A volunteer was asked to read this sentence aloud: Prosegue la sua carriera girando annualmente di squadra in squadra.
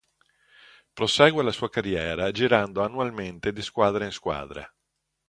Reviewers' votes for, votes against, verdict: 2, 0, accepted